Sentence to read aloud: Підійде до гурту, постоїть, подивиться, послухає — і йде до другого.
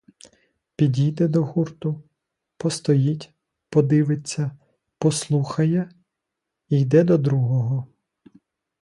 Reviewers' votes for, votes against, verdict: 2, 0, accepted